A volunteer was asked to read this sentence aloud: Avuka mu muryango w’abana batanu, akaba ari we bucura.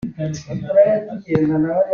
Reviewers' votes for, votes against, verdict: 0, 2, rejected